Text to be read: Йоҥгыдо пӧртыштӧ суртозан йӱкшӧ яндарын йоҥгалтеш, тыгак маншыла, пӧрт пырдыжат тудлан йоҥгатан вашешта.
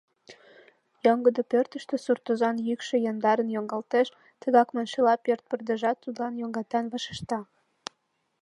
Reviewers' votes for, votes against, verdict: 2, 0, accepted